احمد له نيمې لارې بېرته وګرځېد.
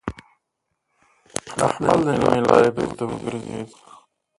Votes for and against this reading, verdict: 0, 2, rejected